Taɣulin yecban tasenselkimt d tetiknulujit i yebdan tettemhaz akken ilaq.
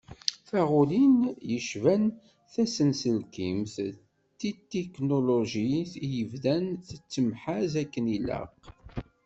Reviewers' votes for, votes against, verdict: 1, 2, rejected